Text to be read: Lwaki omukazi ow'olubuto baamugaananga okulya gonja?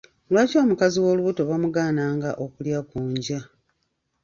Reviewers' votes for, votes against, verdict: 1, 2, rejected